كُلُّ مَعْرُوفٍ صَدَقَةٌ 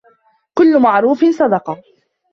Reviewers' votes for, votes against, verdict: 2, 1, accepted